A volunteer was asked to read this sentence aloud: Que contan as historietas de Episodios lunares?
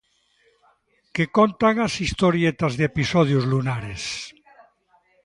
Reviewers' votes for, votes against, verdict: 0, 2, rejected